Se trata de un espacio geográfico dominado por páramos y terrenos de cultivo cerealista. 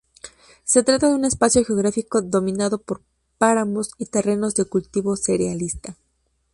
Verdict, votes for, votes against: rejected, 0, 2